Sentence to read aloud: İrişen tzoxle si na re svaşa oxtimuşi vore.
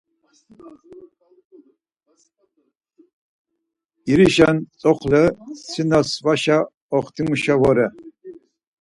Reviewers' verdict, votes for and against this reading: rejected, 0, 4